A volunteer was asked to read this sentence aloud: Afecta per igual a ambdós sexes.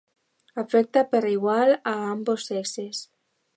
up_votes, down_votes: 1, 2